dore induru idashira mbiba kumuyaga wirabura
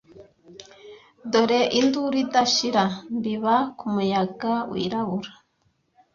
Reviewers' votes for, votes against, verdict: 2, 1, accepted